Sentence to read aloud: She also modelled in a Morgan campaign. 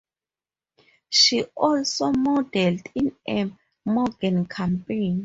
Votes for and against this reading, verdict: 2, 2, rejected